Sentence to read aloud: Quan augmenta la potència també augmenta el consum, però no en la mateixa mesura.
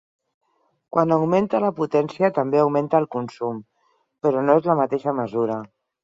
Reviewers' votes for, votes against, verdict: 2, 4, rejected